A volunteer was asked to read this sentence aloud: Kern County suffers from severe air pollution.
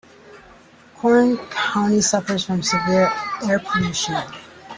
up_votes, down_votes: 2, 1